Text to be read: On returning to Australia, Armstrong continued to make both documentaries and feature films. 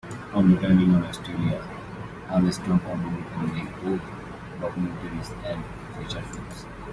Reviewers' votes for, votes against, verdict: 1, 2, rejected